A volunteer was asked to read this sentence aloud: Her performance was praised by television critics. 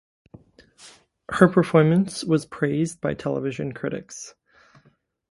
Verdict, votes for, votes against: rejected, 1, 2